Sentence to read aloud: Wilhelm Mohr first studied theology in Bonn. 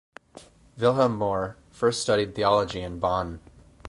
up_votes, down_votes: 2, 2